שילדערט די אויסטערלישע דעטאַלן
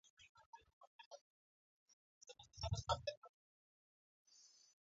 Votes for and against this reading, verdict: 0, 2, rejected